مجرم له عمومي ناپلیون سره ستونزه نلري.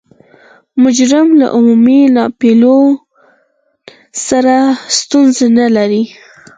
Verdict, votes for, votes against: rejected, 2, 4